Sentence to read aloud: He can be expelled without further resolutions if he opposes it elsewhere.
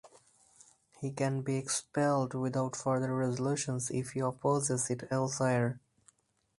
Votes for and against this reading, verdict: 4, 0, accepted